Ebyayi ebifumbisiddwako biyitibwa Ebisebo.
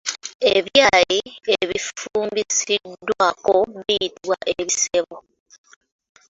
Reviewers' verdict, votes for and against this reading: accepted, 2, 1